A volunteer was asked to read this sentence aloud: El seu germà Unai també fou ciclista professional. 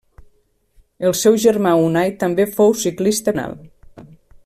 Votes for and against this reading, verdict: 0, 2, rejected